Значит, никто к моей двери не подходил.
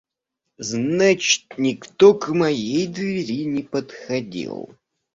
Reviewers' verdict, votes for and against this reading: accepted, 2, 0